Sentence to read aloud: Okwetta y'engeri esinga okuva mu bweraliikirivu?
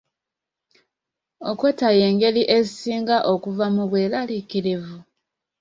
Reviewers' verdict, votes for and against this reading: accepted, 2, 0